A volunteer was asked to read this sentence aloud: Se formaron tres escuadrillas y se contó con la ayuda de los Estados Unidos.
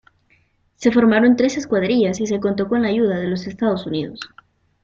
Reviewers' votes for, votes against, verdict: 2, 0, accepted